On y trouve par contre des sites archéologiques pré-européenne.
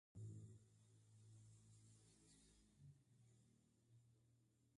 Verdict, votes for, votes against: rejected, 0, 2